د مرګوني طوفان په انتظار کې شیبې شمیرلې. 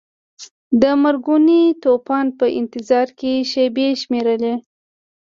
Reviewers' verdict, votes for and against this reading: accepted, 2, 0